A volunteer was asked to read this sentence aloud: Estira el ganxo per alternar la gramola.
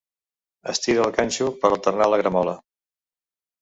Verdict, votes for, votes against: accepted, 2, 0